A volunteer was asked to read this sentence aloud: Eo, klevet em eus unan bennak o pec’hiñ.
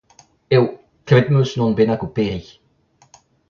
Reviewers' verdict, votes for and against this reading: rejected, 1, 2